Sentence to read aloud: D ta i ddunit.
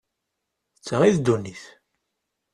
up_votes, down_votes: 2, 0